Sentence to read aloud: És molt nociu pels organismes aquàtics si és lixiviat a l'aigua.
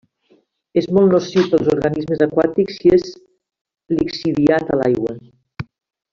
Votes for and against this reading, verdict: 2, 1, accepted